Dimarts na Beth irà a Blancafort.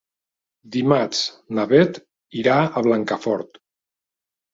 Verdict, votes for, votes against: accepted, 3, 0